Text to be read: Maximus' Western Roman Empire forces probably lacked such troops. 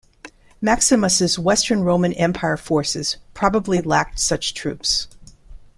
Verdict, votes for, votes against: rejected, 1, 2